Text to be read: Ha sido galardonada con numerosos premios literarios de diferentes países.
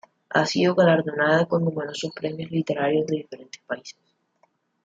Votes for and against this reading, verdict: 2, 1, accepted